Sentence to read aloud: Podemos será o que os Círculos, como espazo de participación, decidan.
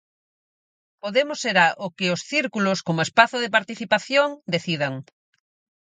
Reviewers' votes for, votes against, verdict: 4, 0, accepted